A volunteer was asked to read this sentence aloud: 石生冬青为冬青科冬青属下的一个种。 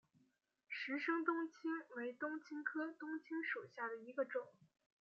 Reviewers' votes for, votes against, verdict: 2, 0, accepted